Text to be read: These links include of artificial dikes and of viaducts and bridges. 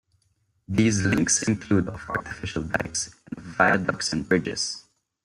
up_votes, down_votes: 0, 2